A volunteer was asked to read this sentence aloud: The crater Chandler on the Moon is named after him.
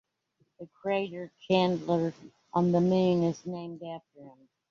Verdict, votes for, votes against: accepted, 2, 1